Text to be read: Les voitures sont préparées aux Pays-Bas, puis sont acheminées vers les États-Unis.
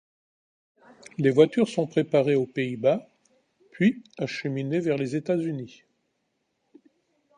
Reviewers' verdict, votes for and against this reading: rejected, 1, 2